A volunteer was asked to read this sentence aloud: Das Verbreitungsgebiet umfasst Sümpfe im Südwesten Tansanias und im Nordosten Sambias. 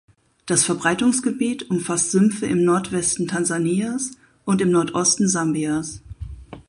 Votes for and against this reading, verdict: 2, 4, rejected